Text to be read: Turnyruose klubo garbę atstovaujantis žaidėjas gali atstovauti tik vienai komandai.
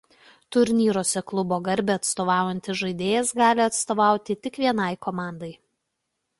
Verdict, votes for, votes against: accepted, 2, 0